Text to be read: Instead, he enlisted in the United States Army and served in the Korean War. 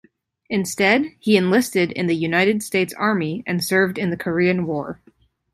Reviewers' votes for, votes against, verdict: 2, 0, accepted